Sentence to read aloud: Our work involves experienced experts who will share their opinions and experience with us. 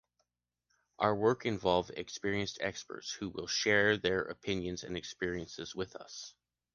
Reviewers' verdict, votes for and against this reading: rejected, 0, 2